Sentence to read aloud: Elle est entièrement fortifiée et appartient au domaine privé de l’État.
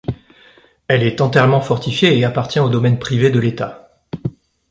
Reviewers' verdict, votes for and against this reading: rejected, 1, 2